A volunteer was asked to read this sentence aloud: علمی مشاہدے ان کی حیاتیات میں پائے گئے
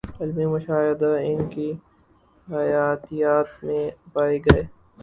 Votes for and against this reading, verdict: 0, 4, rejected